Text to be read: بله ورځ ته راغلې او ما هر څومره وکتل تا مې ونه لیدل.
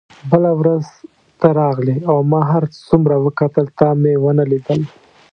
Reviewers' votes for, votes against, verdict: 2, 0, accepted